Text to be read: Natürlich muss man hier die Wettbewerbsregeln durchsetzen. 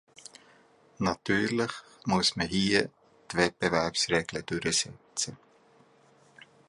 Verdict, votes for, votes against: rejected, 0, 2